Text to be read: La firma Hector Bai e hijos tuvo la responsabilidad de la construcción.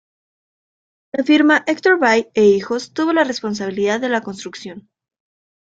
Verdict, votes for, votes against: rejected, 0, 2